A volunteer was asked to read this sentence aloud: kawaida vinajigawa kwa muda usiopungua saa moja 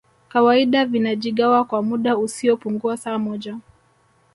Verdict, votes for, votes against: rejected, 1, 2